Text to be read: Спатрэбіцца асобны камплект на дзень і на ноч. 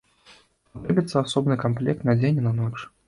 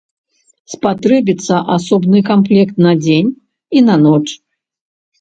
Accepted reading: second